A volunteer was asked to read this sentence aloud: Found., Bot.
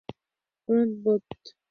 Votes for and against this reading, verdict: 0, 4, rejected